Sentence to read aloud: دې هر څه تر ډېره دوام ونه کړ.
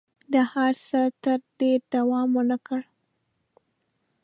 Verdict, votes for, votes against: rejected, 0, 2